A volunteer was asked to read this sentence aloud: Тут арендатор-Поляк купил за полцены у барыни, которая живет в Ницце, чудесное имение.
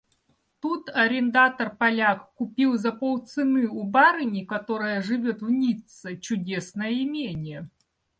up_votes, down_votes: 2, 0